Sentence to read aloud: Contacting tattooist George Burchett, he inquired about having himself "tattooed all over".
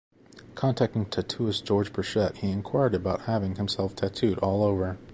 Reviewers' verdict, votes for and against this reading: accepted, 2, 0